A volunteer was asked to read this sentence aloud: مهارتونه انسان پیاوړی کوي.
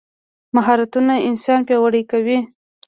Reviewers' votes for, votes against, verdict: 2, 0, accepted